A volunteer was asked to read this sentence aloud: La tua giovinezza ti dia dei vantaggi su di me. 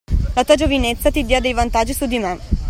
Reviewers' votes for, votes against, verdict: 2, 0, accepted